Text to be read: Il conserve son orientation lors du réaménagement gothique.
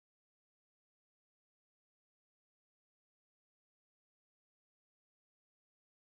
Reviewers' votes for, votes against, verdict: 0, 2, rejected